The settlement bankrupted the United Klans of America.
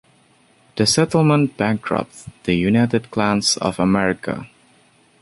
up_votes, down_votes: 2, 0